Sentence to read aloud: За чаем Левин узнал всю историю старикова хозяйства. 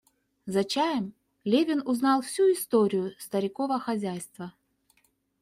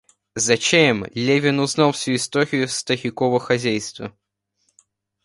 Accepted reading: first